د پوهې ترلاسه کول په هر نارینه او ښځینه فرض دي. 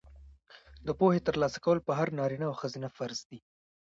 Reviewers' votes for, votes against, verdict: 1, 2, rejected